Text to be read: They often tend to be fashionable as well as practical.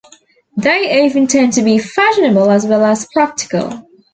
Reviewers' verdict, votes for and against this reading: accepted, 2, 0